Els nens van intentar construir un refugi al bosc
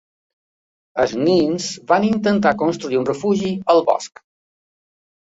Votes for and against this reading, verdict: 2, 1, accepted